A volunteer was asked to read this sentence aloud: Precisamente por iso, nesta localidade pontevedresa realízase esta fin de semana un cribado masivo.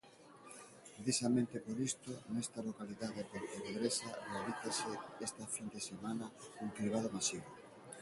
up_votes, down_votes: 0, 2